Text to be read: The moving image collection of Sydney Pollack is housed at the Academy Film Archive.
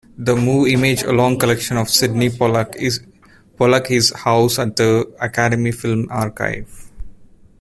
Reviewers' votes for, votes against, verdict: 1, 2, rejected